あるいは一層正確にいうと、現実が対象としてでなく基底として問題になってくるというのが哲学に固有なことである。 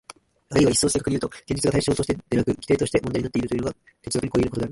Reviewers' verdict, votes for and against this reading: accepted, 2, 1